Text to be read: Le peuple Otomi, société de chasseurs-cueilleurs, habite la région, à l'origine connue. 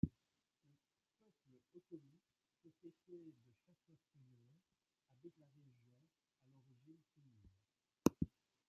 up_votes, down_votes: 0, 2